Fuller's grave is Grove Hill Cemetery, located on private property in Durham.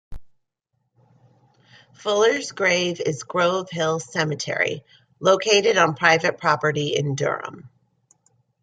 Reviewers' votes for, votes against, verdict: 2, 0, accepted